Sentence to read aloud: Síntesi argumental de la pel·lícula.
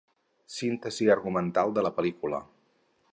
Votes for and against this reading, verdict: 4, 0, accepted